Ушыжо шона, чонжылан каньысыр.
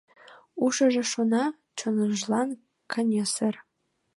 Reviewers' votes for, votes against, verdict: 0, 2, rejected